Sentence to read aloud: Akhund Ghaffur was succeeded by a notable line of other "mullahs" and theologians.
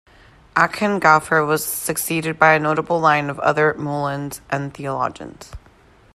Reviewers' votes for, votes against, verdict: 2, 1, accepted